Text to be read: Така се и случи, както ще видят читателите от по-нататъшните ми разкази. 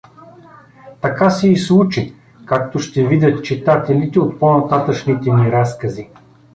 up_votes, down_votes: 2, 0